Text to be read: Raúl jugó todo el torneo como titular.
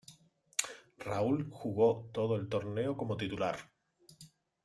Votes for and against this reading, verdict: 2, 0, accepted